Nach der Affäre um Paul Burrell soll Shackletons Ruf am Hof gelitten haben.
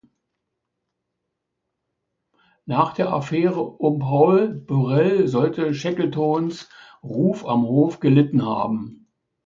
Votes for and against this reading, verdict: 1, 2, rejected